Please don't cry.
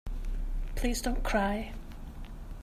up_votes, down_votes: 3, 0